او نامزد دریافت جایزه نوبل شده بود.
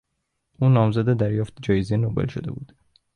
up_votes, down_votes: 2, 0